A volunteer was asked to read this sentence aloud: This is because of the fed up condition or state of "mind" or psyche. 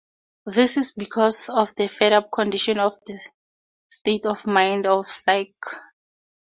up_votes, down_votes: 0, 4